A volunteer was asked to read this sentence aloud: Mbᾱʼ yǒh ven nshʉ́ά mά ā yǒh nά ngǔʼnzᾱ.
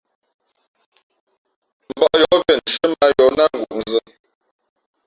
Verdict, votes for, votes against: rejected, 0, 2